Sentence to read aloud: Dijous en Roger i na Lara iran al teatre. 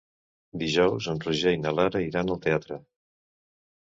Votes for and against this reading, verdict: 2, 1, accepted